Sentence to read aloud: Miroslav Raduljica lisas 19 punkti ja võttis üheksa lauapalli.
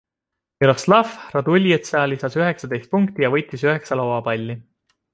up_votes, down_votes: 0, 2